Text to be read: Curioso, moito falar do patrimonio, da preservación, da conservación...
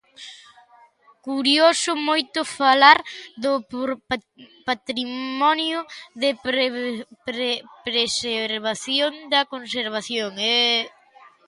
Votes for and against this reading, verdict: 0, 2, rejected